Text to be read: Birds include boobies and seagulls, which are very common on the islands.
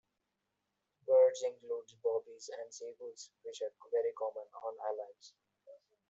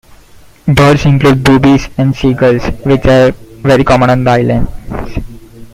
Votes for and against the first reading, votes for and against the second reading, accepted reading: 0, 2, 2, 1, second